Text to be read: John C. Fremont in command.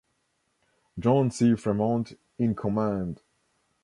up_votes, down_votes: 2, 0